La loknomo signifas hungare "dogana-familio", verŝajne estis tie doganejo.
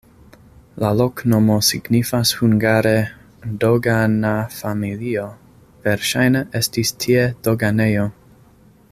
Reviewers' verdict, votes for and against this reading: accepted, 2, 0